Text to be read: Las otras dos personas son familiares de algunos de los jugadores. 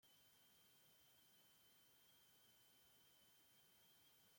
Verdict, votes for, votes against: rejected, 0, 2